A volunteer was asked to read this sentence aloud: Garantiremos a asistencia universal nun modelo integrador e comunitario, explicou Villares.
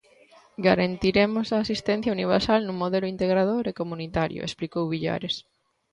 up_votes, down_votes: 2, 0